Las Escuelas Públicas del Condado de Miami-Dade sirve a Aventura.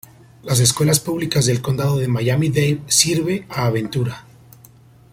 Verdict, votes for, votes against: accepted, 2, 0